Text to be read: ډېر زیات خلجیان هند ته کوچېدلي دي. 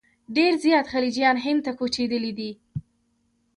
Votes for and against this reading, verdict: 2, 1, accepted